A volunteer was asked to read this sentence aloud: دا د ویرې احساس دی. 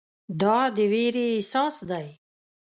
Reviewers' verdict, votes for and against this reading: accepted, 2, 0